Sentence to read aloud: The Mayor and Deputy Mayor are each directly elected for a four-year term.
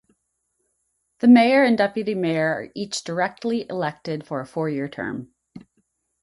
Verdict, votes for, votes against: accepted, 4, 0